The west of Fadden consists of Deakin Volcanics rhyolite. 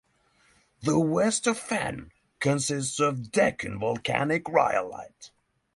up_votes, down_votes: 3, 3